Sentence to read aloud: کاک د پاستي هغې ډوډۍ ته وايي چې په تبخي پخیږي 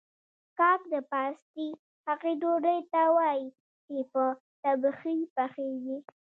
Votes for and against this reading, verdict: 0, 2, rejected